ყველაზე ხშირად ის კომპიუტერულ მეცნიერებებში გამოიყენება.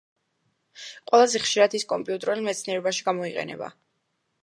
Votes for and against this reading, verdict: 0, 2, rejected